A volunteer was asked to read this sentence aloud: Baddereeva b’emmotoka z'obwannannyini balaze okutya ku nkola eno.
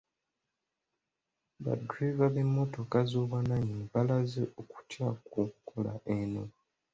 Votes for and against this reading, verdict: 2, 0, accepted